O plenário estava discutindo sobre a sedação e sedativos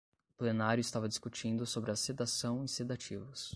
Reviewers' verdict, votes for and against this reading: accepted, 10, 0